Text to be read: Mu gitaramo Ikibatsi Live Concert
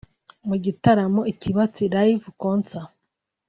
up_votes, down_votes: 2, 0